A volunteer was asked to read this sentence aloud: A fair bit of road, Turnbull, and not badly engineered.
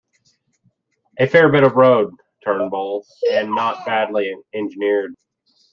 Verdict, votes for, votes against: rejected, 0, 2